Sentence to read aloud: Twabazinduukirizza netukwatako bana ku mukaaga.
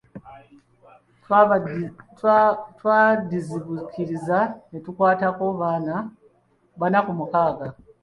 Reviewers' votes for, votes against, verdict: 1, 2, rejected